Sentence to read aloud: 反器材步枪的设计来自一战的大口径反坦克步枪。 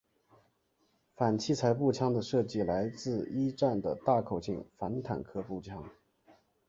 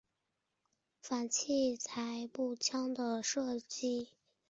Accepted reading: first